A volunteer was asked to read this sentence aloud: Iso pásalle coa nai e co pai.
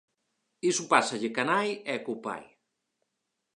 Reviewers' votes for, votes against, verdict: 12, 0, accepted